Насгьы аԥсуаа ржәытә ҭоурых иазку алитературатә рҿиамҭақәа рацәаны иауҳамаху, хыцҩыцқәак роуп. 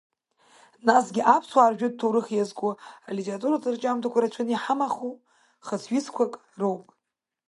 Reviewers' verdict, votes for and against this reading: accepted, 2, 1